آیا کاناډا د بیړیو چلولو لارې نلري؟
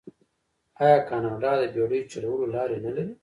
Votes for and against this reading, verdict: 1, 2, rejected